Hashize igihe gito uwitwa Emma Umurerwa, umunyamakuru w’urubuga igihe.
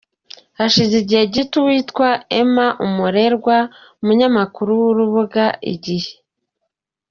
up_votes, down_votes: 2, 0